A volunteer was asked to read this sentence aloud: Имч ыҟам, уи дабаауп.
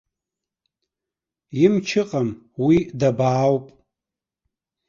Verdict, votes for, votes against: rejected, 1, 2